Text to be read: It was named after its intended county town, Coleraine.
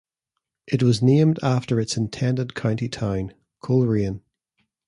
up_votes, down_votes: 2, 0